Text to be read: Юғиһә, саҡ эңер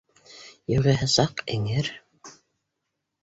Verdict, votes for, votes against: accepted, 2, 0